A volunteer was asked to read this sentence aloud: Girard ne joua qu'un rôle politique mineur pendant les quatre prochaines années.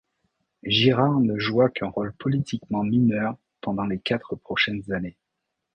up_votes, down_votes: 1, 2